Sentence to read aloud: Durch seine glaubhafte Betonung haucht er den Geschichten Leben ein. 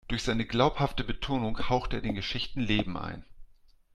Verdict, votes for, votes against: accepted, 2, 0